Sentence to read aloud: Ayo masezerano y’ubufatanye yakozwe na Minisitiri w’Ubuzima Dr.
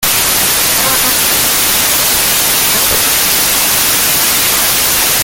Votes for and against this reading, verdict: 0, 2, rejected